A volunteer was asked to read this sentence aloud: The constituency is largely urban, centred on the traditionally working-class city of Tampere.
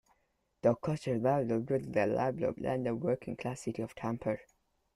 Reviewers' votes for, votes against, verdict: 0, 2, rejected